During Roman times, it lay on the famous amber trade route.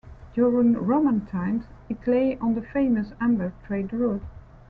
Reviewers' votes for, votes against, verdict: 2, 0, accepted